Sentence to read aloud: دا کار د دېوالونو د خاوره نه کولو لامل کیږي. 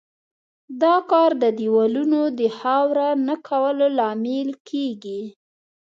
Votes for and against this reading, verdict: 2, 0, accepted